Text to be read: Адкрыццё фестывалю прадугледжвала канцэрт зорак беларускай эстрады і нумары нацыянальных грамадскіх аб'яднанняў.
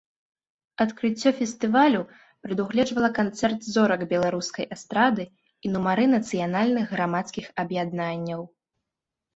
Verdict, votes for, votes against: accepted, 2, 0